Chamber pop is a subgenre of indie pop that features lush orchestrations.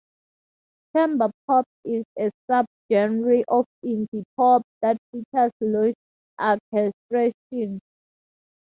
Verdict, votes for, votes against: accepted, 4, 0